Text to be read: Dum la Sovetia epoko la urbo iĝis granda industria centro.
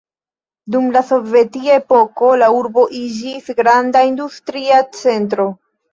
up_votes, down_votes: 2, 0